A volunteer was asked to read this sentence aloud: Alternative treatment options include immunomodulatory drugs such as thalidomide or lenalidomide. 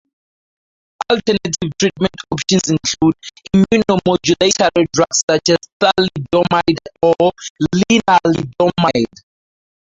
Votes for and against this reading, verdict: 0, 2, rejected